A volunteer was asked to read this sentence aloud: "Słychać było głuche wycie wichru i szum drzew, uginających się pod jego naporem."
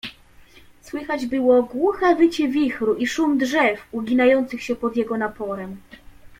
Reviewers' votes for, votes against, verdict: 2, 0, accepted